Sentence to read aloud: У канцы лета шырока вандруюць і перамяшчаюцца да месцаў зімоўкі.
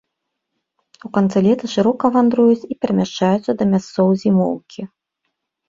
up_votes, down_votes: 0, 2